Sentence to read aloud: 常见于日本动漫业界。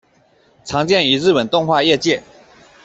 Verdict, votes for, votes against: rejected, 1, 2